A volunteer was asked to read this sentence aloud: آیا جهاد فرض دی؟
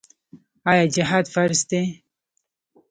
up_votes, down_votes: 2, 0